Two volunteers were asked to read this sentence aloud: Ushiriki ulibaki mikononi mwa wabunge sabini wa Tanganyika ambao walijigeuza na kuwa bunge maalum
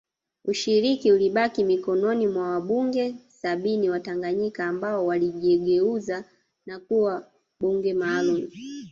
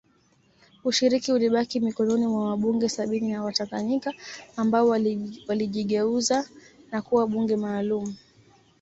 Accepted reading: second